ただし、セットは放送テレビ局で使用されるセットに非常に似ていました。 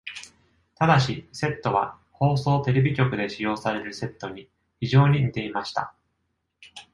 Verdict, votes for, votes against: accepted, 2, 0